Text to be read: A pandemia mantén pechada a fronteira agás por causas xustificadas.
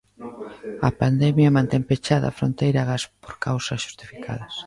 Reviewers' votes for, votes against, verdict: 1, 2, rejected